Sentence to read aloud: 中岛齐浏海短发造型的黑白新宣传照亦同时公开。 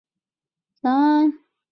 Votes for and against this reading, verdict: 3, 1, accepted